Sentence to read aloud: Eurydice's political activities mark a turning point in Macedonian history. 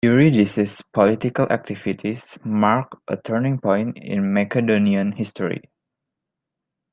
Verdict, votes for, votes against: accepted, 2, 1